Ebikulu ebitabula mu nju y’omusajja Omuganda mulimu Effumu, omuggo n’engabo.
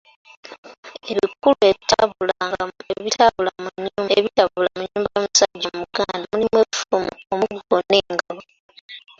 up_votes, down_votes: 0, 2